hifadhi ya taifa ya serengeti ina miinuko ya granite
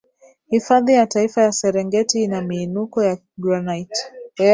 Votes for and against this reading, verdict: 7, 0, accepted